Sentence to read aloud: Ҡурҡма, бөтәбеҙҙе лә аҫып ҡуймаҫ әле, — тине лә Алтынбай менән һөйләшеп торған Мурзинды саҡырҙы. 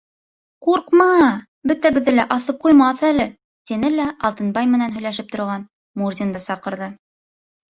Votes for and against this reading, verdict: 2, 0, accepted